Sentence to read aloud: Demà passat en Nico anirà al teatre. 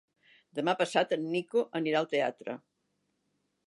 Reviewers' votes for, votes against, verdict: 3, 0, accepted